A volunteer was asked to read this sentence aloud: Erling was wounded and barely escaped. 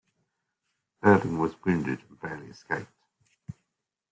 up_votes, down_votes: 2, 3